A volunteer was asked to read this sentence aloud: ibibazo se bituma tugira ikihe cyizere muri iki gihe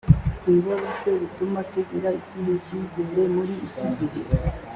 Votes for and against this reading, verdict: 3, 0, accepted